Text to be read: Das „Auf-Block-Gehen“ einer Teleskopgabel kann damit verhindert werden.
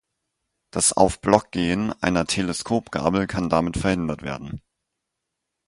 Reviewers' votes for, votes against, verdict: 4, 0, accepted